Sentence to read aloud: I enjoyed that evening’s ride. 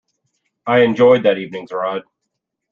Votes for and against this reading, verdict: 2, 0, accepted